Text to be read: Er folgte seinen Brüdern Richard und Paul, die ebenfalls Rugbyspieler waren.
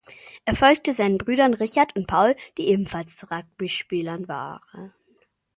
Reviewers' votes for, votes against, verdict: 0, 2, rejected